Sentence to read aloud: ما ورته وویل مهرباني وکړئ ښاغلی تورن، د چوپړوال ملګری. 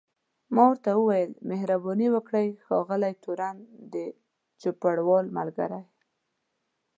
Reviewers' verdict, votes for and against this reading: accepted, 2, 0